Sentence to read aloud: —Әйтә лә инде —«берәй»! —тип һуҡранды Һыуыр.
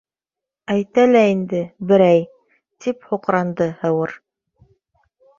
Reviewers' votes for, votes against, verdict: 3, 0, accepted